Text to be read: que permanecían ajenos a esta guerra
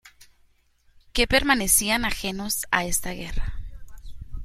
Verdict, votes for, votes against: accepted, 2, 0